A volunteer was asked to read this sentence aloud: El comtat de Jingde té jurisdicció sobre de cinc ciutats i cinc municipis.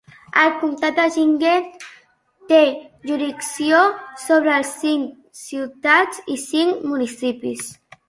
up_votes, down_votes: 0, 9